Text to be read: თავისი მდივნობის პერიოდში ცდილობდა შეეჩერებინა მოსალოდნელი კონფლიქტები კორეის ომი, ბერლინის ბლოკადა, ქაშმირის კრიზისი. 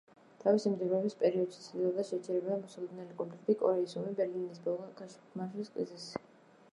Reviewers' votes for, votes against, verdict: 0, 2, rejected